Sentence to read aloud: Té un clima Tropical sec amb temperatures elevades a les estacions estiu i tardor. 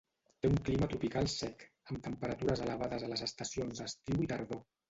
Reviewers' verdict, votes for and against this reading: rejected, 0, 2